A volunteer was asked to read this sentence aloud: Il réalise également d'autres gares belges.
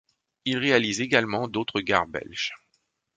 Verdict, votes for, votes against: accepted, 2, 0